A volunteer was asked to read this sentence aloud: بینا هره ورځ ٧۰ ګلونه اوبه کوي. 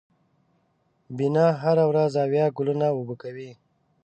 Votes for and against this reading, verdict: 0, 2, rejected